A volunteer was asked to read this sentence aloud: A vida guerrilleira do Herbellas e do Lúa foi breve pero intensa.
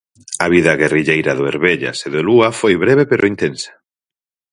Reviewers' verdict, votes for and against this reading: accepted, 4, 0